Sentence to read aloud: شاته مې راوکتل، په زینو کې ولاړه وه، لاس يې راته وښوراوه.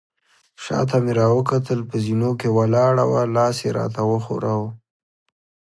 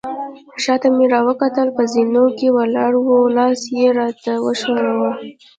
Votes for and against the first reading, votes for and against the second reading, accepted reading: 2, 0, 0, 2, first